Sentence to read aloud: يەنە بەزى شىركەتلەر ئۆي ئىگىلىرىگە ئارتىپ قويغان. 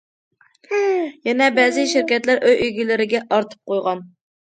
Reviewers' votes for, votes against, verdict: 2, 0, accepted